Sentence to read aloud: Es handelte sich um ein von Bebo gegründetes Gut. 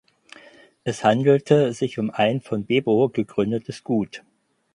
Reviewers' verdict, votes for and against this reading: accepted, 4, 0